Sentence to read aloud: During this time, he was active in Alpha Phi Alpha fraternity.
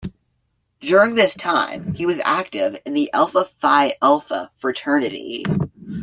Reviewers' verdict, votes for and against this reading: rejected, 1, 2